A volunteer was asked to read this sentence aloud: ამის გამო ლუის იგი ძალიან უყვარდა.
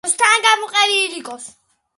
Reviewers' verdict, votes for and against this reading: rejected, 0, 2